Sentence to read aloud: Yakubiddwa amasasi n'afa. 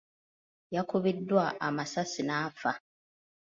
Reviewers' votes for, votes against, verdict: 2, 0, accepted